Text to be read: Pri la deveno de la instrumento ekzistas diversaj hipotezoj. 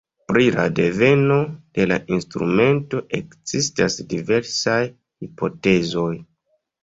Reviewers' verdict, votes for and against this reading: accepted, 2, 1